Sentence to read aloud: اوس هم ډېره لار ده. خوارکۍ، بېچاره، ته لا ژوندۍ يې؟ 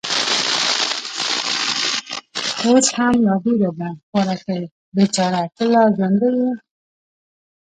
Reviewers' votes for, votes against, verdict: 0, 2, rejected